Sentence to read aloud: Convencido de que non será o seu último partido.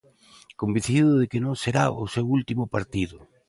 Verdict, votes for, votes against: accepted, 2, 0